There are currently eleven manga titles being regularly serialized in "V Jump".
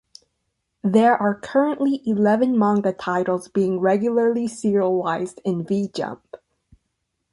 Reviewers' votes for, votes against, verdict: 2, 0, accepted